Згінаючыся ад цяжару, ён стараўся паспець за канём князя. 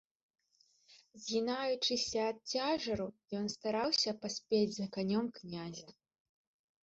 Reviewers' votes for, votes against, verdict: 1, 2, rejected